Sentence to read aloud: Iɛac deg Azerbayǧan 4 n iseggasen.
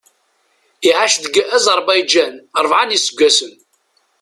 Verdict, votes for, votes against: rejected, 0, 2